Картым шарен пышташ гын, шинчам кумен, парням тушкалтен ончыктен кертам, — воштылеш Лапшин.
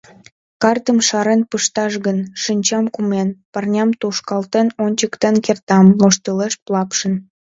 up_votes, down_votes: 2, 0